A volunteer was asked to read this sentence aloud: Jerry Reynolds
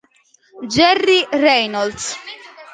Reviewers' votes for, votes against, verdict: 2, 0, accepted